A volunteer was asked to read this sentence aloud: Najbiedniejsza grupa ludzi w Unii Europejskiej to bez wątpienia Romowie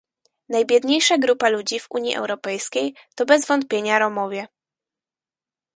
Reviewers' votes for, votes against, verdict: 4, 0, accepted